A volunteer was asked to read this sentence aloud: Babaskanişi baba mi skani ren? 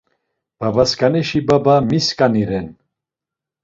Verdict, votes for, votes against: accepted, 2, 0